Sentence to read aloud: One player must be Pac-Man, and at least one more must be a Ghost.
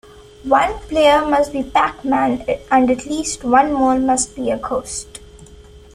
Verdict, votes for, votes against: accepted, 2, 0